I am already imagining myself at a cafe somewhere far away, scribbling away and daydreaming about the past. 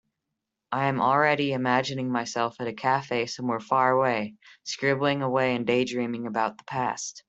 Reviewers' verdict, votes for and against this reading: accepted, 2, 0